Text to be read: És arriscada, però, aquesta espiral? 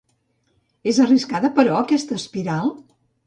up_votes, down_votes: 2, 0